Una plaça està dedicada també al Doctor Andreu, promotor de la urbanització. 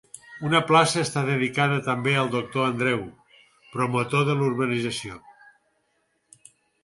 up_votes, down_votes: 2, 4